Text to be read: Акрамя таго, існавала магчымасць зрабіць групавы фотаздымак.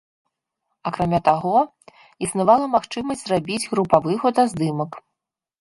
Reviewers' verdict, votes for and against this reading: accepted, 2, 0